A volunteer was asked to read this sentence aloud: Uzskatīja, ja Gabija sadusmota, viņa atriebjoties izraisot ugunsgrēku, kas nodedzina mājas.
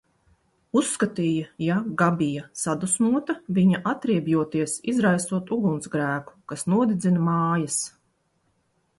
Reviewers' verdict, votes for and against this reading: accepted, 2, 0